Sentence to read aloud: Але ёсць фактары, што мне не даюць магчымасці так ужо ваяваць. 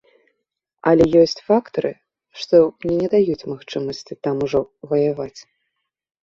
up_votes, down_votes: 0, 2